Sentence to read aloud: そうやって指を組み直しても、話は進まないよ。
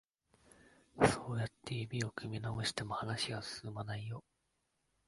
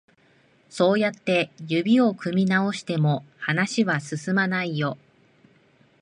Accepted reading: second